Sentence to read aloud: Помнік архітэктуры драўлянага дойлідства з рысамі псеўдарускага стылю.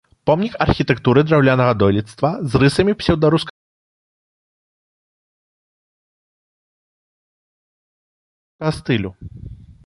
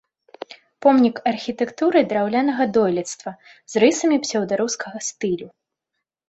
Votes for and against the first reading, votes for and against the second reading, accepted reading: 0, 3, 2, 0, second